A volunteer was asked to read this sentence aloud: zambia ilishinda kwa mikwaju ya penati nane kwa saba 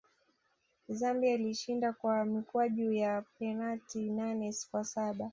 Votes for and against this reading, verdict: 2, 0, accepted